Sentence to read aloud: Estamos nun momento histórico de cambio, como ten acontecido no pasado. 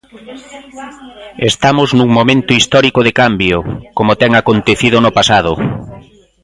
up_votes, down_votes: 0, 2